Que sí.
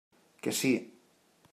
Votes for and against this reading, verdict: 3, 0, accepted